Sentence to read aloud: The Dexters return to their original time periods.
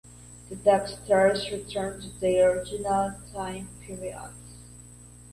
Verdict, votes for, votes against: rejected, 1, 2